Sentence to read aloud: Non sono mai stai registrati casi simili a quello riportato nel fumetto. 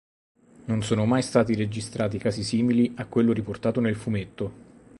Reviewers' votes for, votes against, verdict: 2, 0, accepted